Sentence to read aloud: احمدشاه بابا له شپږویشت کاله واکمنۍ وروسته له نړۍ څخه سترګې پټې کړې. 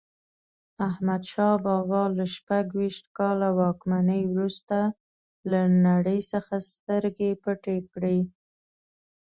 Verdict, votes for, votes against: accepted, 3, 0